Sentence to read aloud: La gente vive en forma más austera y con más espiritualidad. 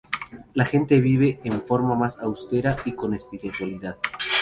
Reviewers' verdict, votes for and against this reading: rejected, 2, 2